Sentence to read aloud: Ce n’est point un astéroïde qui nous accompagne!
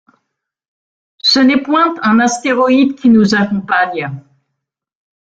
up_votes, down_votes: 2, 0